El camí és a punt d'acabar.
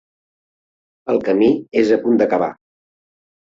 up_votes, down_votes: 3, 0